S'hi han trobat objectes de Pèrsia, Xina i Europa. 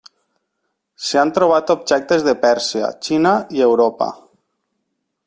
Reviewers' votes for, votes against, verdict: 3, 0, accepted